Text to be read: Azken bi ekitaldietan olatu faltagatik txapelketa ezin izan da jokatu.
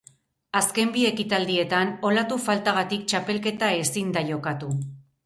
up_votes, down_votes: 0, 4